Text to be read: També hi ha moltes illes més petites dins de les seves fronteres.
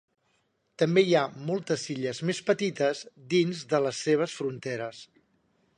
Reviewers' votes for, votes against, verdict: 3, 0, accepted